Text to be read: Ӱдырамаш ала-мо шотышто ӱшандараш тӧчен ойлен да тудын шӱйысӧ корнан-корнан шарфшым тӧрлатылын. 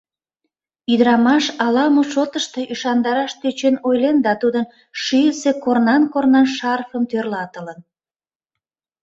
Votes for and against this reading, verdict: 0, 2, rejected